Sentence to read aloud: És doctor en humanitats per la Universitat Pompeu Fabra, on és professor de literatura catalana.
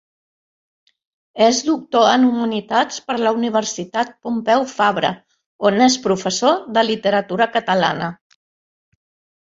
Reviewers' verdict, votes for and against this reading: accepted, 2, 0